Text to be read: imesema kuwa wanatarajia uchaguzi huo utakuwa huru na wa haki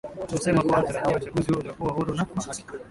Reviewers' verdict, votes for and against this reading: rejected, 0, 2